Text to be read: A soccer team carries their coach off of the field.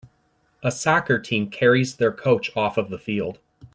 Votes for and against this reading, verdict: 2, 0, accepted